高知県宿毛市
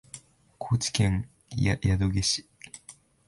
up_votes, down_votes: 7, 4